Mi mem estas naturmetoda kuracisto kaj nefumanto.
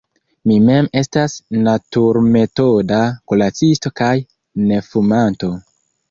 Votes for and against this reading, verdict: 1, 2, rejected